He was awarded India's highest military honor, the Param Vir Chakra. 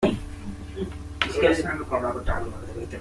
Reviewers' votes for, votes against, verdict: 0, 2, rejected